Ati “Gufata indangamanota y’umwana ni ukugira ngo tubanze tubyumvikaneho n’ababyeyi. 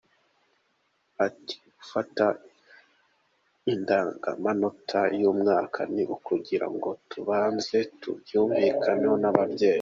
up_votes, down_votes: 2, 1